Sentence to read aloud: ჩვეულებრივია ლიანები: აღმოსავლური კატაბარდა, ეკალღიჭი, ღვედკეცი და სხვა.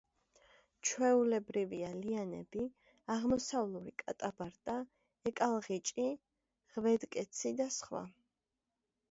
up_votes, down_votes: 0, 2